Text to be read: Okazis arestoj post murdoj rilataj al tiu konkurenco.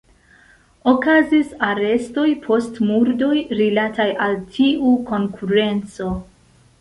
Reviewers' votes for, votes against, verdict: 2, 0, accepted